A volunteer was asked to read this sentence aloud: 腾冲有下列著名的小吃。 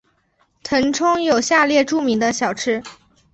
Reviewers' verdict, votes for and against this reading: accepted, 2, 0